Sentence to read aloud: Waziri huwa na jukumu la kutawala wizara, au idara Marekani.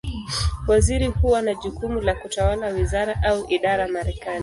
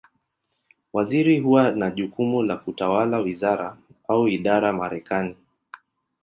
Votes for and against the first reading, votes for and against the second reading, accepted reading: 1, 2, 2, 0, second